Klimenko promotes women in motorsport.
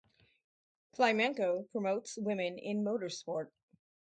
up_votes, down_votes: 6, 0